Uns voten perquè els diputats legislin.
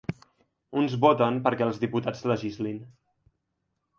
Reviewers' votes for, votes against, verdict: 2, 0, accepted